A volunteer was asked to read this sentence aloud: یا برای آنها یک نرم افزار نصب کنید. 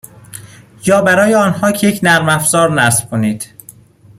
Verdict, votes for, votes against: accepted, 2, 1